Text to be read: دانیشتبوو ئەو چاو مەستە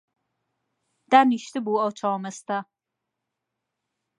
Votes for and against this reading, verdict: 2, 0, accepted